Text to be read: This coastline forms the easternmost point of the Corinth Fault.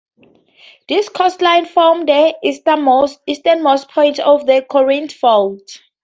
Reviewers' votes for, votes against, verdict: 0, 2, rejected